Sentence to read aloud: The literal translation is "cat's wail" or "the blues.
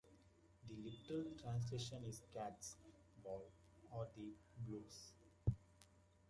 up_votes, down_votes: 0, 2